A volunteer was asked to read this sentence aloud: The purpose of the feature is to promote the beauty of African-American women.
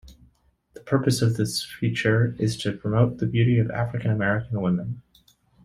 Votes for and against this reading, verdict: 1, 2, rejected